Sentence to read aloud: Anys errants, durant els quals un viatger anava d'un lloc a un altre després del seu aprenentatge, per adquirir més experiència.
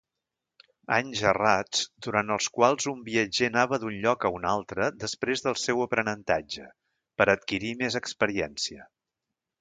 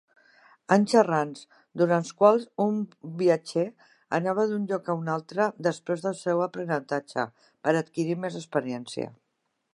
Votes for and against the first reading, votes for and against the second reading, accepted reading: 1, 2, 3, 0, second